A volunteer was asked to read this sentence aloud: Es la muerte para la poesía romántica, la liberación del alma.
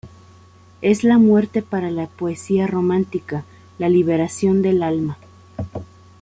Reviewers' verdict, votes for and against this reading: accepted, 2, 0